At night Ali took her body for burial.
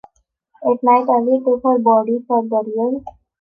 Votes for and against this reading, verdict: 2, 4, rejected